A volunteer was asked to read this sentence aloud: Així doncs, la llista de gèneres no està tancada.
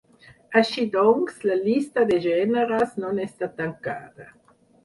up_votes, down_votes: 0, 4